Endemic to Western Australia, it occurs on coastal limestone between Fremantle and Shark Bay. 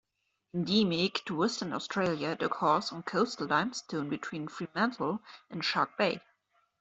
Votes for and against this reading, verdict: 2, 1, accepted